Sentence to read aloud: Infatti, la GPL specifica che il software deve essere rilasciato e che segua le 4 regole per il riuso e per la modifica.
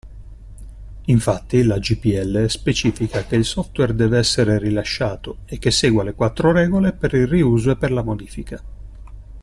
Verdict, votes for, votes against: rejected, 0, 2